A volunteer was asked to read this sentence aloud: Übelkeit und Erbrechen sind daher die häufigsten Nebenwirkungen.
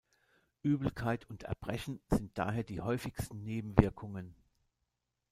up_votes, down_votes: 1, 2